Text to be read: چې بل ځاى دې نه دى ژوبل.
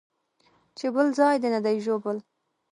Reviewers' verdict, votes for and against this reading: accepted, 2, 0